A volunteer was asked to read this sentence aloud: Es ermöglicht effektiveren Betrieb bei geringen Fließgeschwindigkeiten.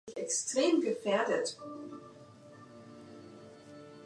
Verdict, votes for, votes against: rejected, 0, 2